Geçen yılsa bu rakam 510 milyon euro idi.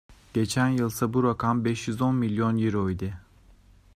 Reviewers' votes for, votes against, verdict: 0, 2, rejected